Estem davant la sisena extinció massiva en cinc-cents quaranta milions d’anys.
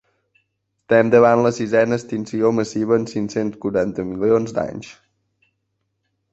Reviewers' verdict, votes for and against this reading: rejected, 1, 2